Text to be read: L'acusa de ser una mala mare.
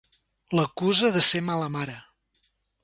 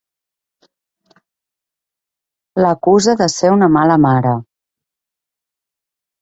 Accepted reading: second